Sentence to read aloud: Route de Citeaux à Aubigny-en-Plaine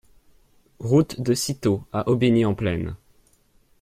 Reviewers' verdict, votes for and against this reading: accepted, 2, 0